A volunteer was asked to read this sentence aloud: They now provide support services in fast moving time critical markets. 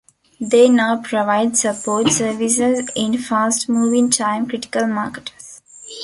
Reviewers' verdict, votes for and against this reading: rejected, 0, 2